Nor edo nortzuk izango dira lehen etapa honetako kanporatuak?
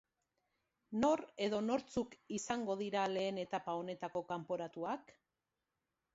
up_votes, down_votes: 2, 0